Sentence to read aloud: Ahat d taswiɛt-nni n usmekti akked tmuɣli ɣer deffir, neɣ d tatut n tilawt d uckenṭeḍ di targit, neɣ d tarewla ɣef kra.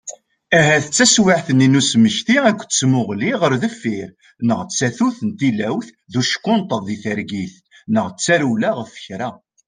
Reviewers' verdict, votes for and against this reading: accepted, 2, 0